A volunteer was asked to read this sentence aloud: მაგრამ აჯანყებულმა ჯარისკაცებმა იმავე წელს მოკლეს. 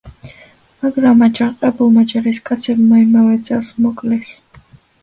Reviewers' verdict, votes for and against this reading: accepted, 2, 0